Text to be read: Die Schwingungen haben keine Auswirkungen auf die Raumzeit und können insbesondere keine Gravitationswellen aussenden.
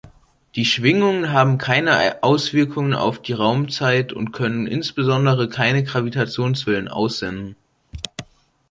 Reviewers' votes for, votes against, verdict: 1, 2, rejected